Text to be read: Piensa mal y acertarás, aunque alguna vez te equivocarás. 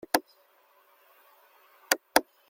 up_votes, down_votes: 0, 2